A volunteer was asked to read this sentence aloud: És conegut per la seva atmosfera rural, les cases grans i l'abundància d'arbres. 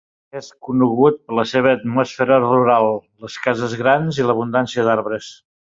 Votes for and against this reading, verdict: 3, 0, accepted